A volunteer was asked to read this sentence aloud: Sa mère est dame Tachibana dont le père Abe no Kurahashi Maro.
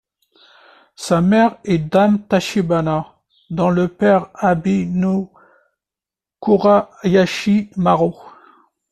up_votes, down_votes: 1, 2